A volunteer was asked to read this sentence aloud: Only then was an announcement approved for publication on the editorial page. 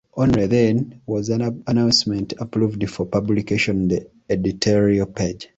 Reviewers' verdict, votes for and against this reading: rejected, 0, 2